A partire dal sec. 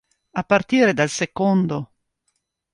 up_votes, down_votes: 0, 2